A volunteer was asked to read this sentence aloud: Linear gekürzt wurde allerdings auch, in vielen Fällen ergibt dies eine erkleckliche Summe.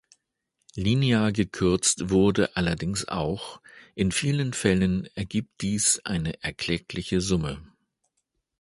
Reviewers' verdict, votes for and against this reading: accepted, 2, 0